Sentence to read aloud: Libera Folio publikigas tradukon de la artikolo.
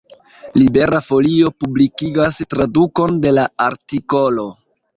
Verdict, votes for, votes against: accepted, 2, 0